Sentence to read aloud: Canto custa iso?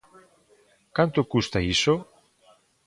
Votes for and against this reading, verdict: 2, 0, accepted